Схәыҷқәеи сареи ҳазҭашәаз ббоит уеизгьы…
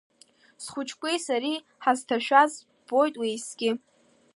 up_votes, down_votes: 2, 0